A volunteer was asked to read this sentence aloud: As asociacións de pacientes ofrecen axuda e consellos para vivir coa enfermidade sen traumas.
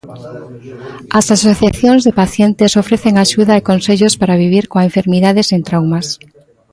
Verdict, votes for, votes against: rejected, 1, 2